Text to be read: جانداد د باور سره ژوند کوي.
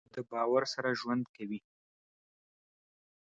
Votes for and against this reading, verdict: 1, 2, rejected